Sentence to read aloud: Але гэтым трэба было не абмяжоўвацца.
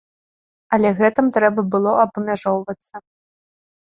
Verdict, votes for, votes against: rejected, 0, 2